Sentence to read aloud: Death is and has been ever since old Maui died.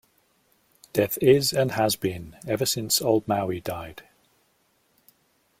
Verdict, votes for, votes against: accepted, 2, 0